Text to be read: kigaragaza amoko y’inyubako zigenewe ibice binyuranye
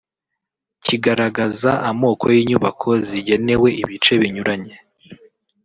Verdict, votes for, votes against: accepted, 2, 0